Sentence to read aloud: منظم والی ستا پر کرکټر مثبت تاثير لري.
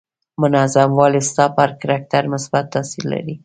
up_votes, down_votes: 2, 0